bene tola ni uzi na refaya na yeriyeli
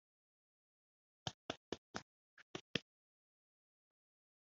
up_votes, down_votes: 0, 3